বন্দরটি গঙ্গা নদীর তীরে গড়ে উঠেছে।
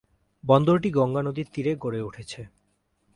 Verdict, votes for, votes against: accepted, 2, 0